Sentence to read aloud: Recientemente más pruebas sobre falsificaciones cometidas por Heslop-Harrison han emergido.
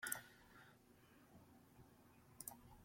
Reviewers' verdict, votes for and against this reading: rejected, 1, 2